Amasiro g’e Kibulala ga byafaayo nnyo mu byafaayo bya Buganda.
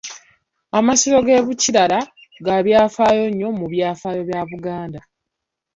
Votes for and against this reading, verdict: 1, 2, rejected